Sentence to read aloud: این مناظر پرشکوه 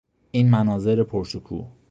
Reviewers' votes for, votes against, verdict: 2, 0, accepted